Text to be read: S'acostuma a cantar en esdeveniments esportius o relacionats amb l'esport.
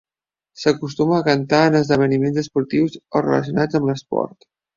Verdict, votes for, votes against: accepted, 3, 0